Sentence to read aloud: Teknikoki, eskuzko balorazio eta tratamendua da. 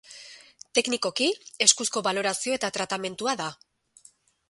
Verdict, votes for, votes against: accepted, 4, 0